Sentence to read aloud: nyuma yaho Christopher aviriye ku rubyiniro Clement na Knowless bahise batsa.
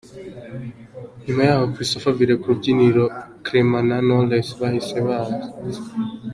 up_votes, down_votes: 2, 0